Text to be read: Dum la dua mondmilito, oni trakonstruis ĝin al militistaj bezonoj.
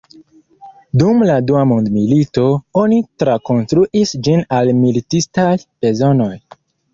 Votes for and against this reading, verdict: 2, 0, accepted